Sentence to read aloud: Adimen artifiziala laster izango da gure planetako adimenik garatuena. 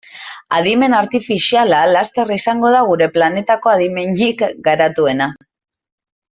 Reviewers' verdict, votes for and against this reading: rejected, 1, 2